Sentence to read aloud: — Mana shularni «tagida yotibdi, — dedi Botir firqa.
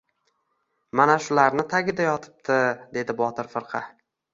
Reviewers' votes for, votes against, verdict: 1, 2, rejected